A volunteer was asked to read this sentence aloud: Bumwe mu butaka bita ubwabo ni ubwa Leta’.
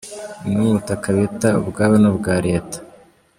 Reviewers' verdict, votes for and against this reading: accepted, 2, 0